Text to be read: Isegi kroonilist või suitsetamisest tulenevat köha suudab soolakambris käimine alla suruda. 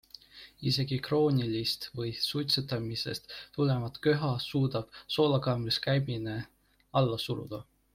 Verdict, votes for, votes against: accepted, 2, 0